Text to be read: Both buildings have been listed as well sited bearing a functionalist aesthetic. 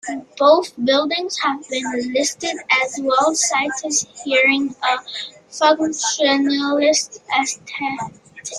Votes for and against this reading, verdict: 1, 3, rejected